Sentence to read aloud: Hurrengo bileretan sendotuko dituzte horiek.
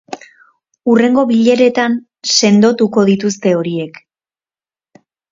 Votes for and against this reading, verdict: 2, 0, accepted